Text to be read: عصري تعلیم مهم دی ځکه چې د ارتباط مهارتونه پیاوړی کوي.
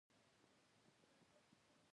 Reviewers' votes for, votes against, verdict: 1, 2, rejected